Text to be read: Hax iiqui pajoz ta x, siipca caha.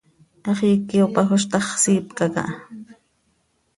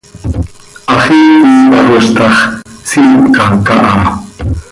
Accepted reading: first